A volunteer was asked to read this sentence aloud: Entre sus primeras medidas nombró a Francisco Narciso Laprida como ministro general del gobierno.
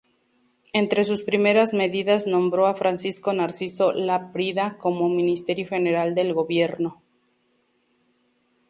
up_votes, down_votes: 2, 0